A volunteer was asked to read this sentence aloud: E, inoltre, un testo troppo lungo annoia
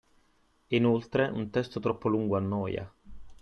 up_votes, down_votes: 2, 0